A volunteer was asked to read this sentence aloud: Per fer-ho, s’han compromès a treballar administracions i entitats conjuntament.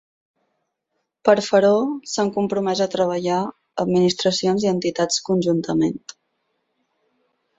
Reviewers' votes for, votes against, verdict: 0, 6, rejected